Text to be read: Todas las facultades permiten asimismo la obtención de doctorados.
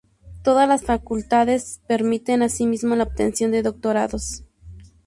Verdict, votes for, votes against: rejected, 0, 2